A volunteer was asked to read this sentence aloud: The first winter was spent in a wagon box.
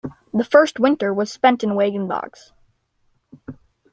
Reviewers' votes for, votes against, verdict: 2, 0, accepted